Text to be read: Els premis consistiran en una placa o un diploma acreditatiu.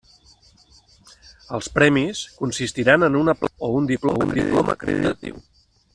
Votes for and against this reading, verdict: 0, 2, rejected